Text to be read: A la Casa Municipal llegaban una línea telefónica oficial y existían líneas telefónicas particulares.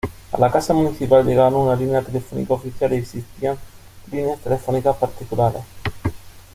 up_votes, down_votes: 0, 2